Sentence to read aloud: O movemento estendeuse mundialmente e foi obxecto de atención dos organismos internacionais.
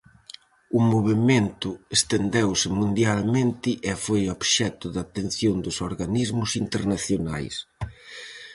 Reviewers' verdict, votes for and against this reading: accepted, 4, 0